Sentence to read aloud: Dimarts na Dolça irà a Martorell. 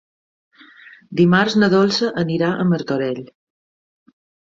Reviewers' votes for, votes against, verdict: 1, 2, rejected